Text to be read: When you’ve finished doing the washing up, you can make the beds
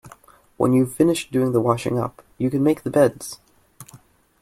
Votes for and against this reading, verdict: 2, 0, accepted